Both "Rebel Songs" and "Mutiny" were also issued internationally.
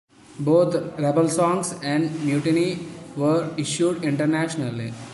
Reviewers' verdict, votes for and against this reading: accepted, 2, 1